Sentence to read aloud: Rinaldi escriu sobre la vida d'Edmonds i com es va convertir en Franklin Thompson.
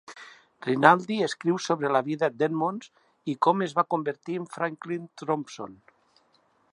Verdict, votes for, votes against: rejected, 0, 2